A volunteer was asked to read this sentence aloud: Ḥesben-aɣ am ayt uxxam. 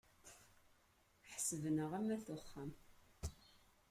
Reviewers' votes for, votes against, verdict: 1, 2, rejected